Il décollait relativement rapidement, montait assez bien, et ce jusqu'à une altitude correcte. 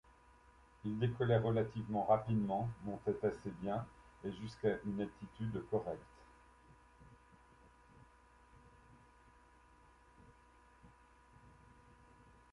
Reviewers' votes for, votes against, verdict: 1, 2, rejected